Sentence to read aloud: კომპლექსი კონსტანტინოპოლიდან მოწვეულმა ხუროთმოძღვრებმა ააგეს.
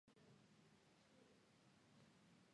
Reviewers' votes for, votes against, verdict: 0, 2, rejected